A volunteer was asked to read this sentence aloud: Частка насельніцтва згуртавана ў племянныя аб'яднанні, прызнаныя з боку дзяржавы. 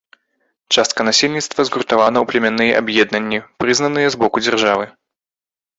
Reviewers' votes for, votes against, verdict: 0, 3, rejected